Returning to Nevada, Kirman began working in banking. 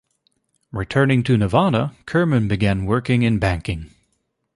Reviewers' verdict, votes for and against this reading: accepted, 2, 0